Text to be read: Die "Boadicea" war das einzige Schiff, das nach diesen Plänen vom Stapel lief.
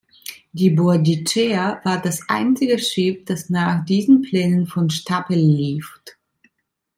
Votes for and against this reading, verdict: 1, 2, rejected